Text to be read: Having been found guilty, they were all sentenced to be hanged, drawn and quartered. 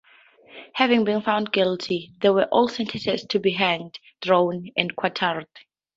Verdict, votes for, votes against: accepted, 2, 0